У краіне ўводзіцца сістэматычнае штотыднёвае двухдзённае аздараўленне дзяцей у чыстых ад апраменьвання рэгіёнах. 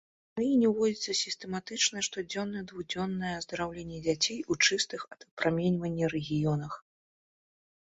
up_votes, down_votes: 1, 2